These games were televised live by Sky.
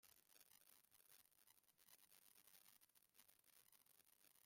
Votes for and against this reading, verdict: 0, 2, rejected